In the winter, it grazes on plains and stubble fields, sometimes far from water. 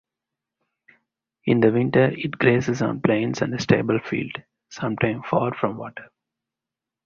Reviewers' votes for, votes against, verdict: 2, 2, rejected